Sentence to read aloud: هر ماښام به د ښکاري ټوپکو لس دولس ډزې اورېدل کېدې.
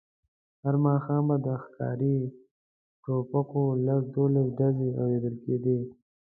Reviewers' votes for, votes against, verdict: 2, 1, accepted